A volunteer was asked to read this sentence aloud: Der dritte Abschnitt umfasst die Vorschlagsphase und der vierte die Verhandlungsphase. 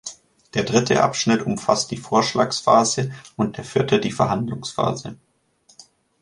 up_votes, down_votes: 2, 0